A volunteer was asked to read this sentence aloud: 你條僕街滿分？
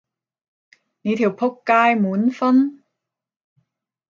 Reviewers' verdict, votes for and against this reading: accepted, 5, 0